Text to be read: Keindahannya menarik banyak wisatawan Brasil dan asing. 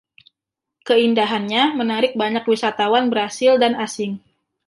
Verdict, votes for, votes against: rejected, 1, 2